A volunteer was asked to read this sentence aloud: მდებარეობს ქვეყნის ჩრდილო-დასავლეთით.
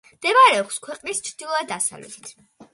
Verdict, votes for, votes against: accepted, 2, 0